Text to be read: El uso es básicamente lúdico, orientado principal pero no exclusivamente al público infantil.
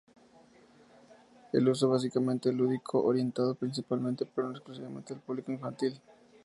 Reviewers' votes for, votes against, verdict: 2, 0, accepted